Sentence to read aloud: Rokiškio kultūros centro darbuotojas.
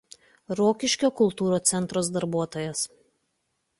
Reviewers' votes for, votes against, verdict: 0, 2, rejected